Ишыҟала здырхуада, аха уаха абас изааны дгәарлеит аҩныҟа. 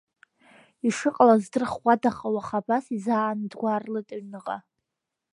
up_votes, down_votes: 2, 0